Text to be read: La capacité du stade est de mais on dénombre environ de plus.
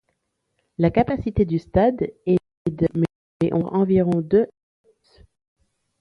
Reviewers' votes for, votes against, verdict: 1, 2, rejected